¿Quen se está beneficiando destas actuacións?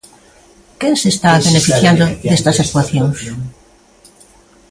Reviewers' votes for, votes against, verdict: 0, 2, rejected